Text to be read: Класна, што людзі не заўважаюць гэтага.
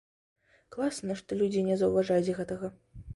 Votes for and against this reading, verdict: 2, 0, accepted